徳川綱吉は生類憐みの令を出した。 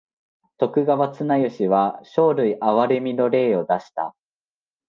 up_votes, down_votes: 2, 0